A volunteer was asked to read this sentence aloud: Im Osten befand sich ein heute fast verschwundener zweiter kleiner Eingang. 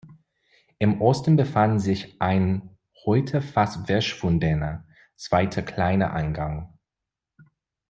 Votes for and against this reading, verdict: 1, 2, rejected